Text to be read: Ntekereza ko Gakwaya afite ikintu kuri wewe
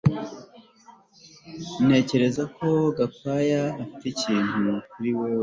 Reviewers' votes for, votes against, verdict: 2, 1, accepted